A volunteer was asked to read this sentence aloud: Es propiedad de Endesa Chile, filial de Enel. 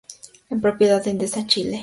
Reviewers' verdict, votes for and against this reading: rejected, 0, 2